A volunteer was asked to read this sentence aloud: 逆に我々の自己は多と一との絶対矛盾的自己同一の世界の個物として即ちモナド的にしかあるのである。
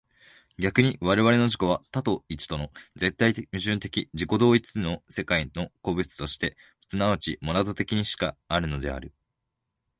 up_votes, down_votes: 2, 0